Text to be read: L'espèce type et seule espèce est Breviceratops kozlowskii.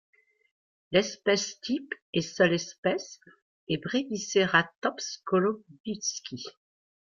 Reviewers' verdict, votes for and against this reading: rejected, 1, 2